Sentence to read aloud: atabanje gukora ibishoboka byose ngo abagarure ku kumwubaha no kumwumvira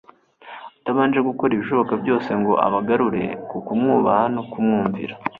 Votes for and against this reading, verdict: 2, 0, accepted